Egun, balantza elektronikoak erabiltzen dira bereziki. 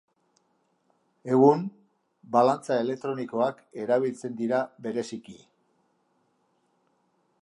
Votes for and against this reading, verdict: 2, 0, accepted